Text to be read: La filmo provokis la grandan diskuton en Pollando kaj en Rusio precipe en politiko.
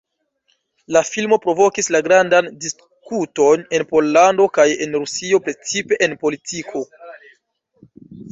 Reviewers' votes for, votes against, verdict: 0, 2, rejected